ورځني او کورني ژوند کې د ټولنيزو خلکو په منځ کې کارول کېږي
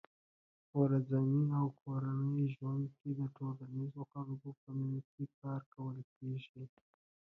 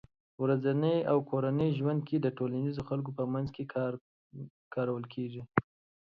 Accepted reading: second